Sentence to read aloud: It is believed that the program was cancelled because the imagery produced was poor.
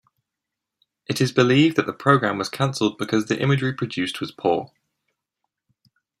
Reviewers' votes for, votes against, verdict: 1, 2, rejected